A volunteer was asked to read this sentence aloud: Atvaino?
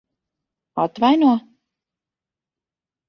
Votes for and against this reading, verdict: 2, 0, accepted